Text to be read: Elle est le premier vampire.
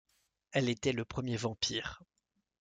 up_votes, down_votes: 0, 2